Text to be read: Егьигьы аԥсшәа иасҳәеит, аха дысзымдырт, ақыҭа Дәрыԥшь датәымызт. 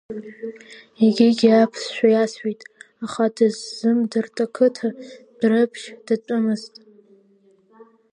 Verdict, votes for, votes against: accepted, 2, 0